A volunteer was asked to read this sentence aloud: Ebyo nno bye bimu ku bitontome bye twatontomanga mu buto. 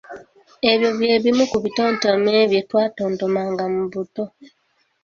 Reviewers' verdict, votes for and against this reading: accepted, 2, 1